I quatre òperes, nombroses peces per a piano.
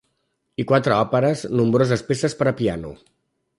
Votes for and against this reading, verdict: 1, 2, rejected